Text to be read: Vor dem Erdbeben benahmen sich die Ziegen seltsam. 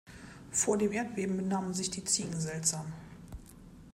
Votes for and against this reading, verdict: 2, 0, accepted